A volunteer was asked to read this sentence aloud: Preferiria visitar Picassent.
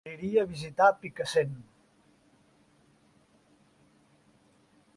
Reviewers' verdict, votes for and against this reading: rejected, 0, 3